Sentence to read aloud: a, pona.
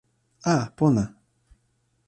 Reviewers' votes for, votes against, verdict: 2, 0, accepted